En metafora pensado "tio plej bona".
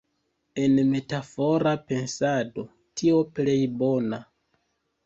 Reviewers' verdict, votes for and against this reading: accepted, 2, 0